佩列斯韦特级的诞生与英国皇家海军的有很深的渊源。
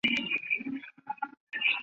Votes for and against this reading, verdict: 0, 3, rejected